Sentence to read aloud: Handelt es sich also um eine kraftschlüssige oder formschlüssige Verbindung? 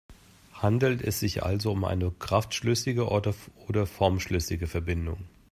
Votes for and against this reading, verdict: 1, 2, rejected